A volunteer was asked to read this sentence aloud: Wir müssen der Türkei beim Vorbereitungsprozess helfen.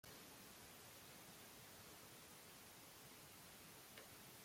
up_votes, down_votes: 0, 2